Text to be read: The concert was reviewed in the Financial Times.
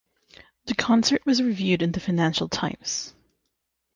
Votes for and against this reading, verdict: 3, 0, accepted